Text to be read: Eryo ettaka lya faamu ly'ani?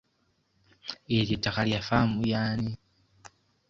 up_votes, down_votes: 1, 2